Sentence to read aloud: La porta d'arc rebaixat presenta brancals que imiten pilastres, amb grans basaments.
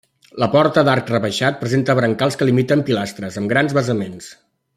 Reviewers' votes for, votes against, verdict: 1, 2, rejected